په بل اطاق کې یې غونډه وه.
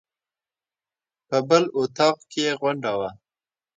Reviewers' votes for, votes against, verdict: 2, 0, accepted